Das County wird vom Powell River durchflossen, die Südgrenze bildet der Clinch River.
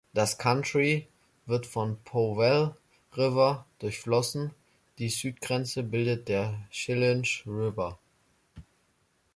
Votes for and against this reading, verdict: 0, 2, rejected